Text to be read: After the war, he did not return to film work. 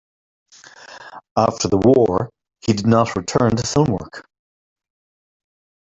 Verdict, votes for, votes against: rejected, 1, 2